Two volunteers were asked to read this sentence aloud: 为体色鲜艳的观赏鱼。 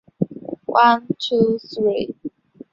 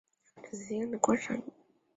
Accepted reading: second